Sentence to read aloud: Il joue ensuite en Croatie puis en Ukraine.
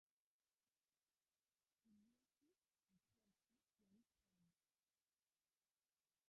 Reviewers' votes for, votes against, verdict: 0, 2, rejected